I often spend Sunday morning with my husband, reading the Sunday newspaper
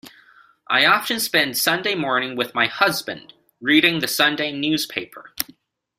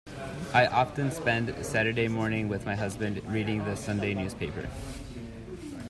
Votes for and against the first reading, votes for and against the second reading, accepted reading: 2, 0, 0, 2, first